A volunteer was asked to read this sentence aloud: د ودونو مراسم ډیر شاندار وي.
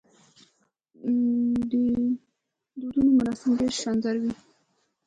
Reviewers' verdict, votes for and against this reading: rejected, 0, 2